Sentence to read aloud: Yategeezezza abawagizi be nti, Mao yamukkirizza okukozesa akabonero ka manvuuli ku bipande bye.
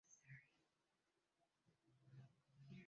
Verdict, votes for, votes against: rejected, 0, 2